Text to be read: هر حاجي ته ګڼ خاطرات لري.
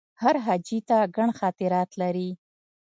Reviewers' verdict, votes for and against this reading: rejected, 0, 2